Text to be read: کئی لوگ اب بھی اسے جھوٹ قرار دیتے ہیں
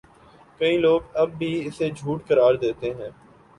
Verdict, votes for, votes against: accepted, 2, 0